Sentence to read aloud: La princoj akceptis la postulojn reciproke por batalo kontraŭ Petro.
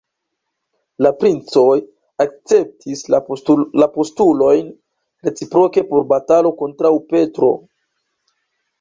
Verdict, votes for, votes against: rejected, 1, 2